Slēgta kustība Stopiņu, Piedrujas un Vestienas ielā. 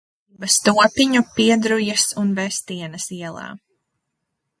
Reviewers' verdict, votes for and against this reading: rejected, 0, 2